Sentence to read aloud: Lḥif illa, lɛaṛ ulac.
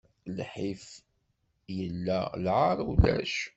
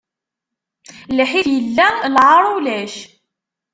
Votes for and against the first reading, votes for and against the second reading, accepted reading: 2, 0, 0, 2, first